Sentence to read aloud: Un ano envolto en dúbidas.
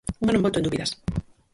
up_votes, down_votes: 0, 4